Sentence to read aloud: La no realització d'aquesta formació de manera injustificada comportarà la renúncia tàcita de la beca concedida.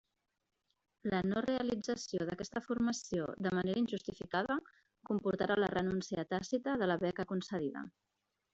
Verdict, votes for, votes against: rejected, 1, 2